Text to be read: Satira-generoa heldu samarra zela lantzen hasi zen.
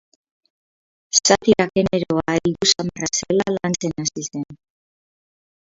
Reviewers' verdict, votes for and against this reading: rejected, 2, 4